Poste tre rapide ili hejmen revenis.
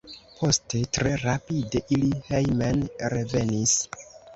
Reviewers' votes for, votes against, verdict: 1, 2, rejected